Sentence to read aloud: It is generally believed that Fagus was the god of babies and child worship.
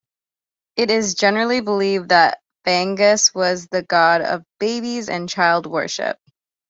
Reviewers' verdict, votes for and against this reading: accepted, 2, 0